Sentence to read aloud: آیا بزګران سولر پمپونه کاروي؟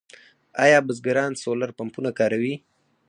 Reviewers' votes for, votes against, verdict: 4, 2, accepted